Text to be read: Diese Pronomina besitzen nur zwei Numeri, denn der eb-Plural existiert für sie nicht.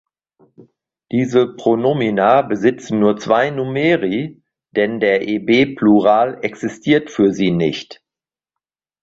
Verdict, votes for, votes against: accepted, 2, 1